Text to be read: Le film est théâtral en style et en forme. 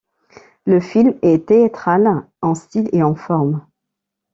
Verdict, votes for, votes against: rejected, 1, 2